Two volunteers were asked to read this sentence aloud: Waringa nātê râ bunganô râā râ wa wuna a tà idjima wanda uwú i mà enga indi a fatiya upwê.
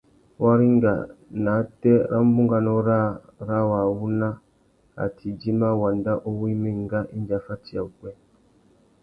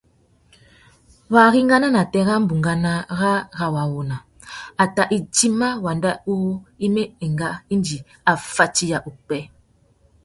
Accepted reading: first